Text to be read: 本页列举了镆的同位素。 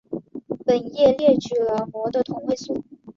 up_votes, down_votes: 4, 0